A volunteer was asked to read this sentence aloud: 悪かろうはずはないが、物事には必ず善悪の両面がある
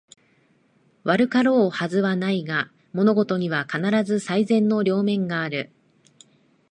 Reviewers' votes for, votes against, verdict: 0, 2, rejected